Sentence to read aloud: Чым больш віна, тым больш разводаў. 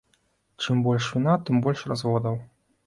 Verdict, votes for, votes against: accepted, 2, 0